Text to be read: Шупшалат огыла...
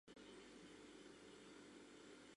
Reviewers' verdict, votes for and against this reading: rejected, 0, 2